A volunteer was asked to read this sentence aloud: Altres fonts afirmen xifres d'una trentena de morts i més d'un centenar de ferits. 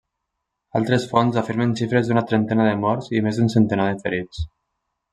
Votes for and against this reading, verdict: 3, 1, accepted